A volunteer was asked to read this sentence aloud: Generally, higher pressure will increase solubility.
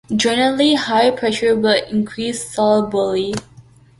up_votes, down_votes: 2, 0